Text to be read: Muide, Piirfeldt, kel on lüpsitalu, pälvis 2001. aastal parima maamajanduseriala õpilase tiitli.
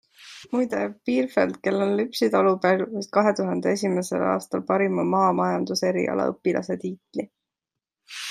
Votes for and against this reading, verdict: 0, 2, rejected